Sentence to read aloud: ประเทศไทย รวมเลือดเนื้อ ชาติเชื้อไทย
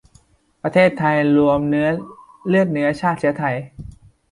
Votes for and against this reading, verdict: 0, 2, rejected